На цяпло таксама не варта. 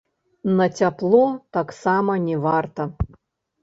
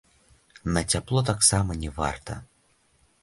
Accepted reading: second